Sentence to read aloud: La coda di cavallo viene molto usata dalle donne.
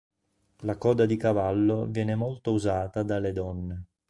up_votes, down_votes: 3, 0